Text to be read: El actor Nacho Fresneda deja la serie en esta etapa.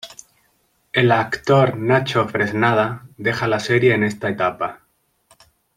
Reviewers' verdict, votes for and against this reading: rejected, 1, 2